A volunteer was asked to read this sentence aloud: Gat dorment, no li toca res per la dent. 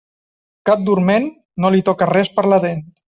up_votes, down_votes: 2, 0